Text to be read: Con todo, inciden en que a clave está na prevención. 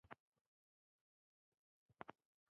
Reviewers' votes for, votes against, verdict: 0, 2, rejected